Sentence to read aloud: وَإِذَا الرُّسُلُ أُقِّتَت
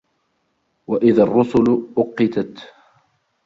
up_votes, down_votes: 1, 2